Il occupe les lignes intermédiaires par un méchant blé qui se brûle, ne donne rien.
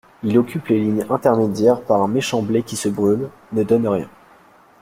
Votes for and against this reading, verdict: 2, 0, accepted